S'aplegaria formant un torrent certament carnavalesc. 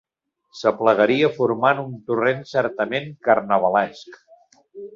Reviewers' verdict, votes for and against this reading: accepted, 3, 0